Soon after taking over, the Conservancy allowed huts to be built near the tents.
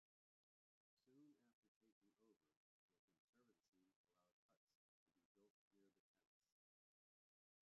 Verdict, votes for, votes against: rejected, 0, 2